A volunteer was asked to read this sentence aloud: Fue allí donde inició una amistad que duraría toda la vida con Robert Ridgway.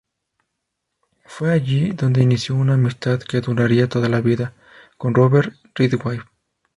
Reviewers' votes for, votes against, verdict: 2, 0, accepted